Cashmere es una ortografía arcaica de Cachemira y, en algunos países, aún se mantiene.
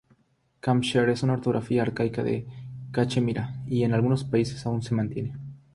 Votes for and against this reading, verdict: 0, 3, rejected